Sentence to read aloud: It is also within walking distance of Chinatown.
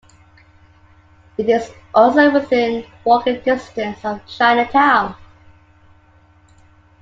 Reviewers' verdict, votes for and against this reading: accepted, 2, 0